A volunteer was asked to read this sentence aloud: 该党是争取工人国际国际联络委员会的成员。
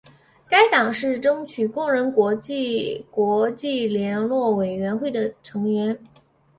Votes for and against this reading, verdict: 2, 1, accepted